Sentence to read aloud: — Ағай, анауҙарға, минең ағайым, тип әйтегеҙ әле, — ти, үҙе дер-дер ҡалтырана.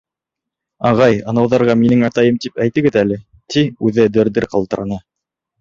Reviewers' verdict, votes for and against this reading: rejected, 1, 2